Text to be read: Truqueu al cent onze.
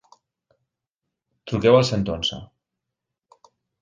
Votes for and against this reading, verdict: 2, 0, accepted